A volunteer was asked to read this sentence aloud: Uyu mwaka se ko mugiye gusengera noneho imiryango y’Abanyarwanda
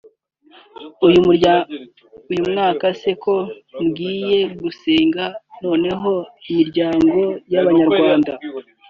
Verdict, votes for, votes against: rejected, 1, 2